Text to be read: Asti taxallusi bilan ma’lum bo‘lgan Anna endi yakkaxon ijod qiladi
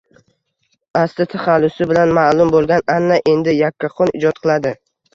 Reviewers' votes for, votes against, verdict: 0, 2, rejected